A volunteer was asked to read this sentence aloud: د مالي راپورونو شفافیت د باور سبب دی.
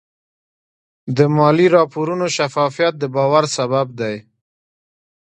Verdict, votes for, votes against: accepted, 2, 0